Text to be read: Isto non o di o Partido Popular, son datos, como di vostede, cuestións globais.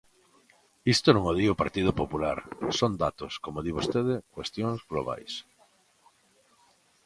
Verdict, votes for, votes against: accepted, 2, 0